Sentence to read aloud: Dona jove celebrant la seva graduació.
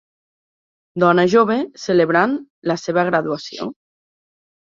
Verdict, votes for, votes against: accepted, 3, 0